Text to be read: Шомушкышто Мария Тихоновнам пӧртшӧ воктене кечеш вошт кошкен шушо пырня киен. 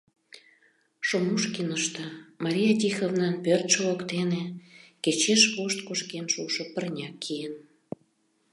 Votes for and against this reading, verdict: 0, 2, rejected